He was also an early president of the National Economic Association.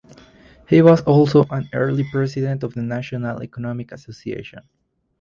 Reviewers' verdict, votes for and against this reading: rejected, 2, 4